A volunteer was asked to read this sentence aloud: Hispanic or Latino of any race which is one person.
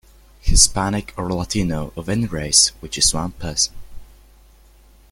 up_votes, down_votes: 2, 0